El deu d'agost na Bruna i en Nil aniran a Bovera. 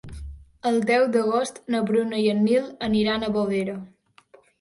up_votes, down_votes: 4, 0